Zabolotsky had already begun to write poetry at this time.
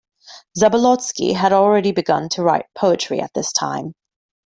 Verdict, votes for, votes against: accepted, 2, 0